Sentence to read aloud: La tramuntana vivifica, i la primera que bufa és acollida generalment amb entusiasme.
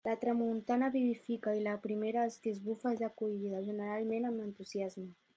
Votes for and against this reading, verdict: 1, 2, rejected